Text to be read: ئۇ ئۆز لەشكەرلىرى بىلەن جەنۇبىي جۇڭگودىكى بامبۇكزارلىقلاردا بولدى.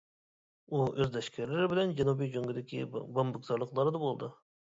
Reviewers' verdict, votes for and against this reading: rejected, 1, 2